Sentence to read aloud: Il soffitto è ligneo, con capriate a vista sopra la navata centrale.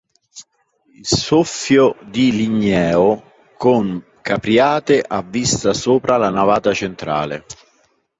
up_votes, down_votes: 1, 2